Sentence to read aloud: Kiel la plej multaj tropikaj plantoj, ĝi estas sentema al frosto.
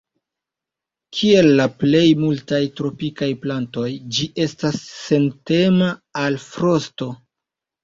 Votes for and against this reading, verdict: 2, 1, accepted